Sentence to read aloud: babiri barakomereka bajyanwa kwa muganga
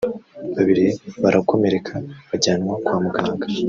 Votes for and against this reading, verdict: 1, 2, rejected